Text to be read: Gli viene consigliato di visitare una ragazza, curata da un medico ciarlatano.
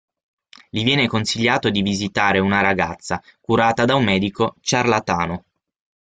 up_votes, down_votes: 6, 0